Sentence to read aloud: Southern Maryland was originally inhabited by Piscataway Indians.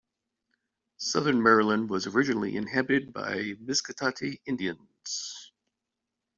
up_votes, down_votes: 0, 2